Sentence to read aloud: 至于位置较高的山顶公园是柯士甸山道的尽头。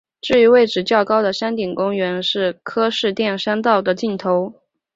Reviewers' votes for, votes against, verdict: 2, 1, accepted